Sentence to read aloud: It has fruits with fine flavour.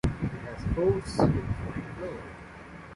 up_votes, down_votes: 1, 2